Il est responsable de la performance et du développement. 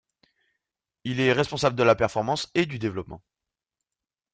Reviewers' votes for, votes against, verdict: 2, 0, accepted